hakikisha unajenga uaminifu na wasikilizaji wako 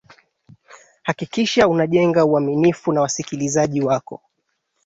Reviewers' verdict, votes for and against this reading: accepted, 4, 1